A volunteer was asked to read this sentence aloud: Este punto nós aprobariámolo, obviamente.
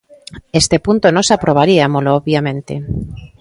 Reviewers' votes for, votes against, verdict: 1, 2, rejected